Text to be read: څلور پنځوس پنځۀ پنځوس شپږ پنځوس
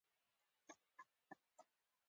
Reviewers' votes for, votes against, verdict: 1, 3, rejected